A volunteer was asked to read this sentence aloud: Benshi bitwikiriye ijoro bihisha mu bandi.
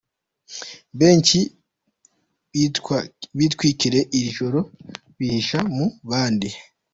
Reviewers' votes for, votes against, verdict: 0, 2, rejected